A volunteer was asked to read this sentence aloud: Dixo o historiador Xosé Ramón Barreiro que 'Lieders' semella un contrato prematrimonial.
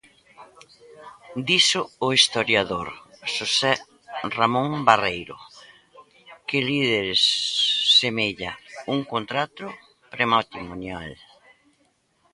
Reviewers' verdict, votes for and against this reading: rejected, 0, 2